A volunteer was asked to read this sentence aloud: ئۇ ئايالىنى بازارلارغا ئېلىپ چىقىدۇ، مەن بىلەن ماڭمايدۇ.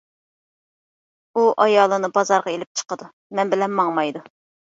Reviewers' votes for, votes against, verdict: 2, 1, accepted